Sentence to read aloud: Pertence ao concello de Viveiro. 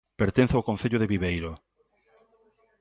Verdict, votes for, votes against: accepted, 2, 0